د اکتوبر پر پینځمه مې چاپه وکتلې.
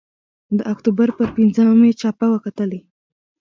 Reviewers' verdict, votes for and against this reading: accepted, 2, 0